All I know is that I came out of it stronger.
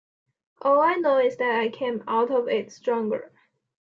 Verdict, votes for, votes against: accepted, 2, 0